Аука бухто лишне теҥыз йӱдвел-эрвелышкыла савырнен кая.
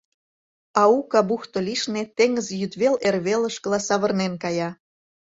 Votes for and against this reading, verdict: 2, 0, accepted